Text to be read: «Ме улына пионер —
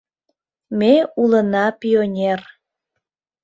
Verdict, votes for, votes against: accepted, 2, 0